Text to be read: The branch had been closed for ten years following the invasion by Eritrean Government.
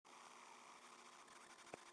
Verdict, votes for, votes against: rejected, 0, 2